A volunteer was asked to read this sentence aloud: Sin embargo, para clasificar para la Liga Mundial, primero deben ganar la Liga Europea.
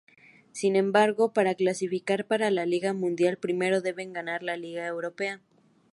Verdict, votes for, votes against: accepted, 2, 0